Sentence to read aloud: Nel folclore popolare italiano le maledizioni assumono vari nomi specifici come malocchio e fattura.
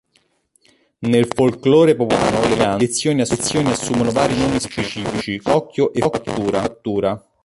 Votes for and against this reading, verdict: 0, 2, rejected